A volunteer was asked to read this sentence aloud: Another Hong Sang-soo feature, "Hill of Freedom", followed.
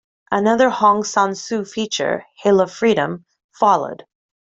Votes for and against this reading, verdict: 2, 0, accepted